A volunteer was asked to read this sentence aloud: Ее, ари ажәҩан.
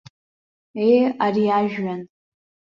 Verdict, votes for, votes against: accepted, 2, 1